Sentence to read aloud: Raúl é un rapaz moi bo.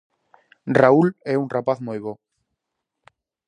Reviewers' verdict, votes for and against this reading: accepted, 4, 0